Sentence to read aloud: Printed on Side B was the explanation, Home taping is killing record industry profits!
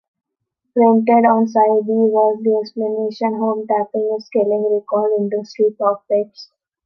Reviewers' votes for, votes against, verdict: 1, 2, rejected